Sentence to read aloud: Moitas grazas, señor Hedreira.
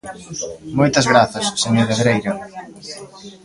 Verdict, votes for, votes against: rejected, 1, 2